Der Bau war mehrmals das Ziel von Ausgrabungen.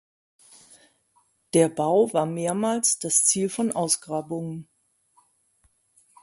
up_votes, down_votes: 2, 0